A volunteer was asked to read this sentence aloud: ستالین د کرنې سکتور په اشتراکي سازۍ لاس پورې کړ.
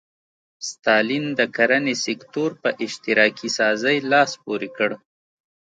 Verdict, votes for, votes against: accepted, 2, 0